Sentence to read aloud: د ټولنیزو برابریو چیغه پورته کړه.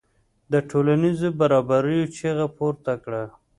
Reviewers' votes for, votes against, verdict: 2, 0, accepted